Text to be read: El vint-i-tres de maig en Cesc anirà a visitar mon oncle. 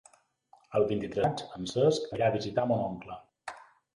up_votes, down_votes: 0, 3